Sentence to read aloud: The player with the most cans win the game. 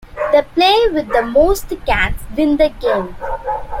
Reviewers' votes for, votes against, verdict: 2, 1, accepted